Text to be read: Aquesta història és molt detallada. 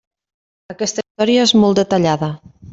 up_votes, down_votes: 1, 2